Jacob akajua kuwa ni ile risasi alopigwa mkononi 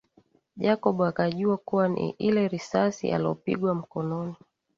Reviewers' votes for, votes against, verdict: 19, 1, accepted